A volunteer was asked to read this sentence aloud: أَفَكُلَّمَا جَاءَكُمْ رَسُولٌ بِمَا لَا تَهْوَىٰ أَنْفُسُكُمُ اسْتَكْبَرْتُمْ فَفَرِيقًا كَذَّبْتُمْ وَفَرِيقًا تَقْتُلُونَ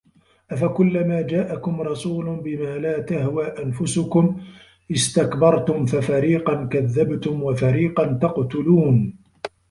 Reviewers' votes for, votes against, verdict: 2, 0, accepted